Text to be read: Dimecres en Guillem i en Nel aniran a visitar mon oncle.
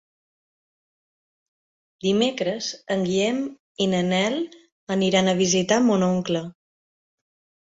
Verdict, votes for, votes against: rejected, 0, 2